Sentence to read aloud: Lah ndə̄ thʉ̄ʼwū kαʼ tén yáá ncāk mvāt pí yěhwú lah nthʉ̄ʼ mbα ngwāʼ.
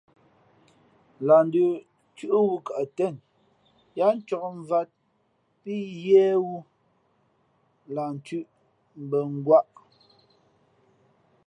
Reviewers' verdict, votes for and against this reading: rejected, 1, 2